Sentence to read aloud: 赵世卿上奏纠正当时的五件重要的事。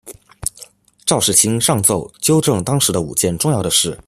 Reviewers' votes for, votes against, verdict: 2, 0, accepted